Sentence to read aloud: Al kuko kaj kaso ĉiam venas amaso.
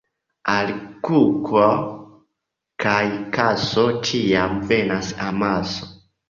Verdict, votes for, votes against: accepted, 2, 1